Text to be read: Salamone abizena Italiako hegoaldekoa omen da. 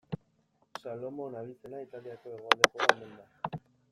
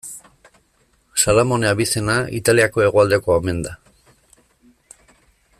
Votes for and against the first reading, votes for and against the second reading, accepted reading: 1, 2, 2, 0, second